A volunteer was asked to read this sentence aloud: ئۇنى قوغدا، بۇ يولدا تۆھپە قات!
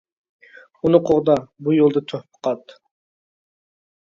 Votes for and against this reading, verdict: 2, 0, accepted